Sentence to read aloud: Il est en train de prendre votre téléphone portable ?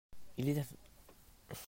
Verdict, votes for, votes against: rejected, 0, 2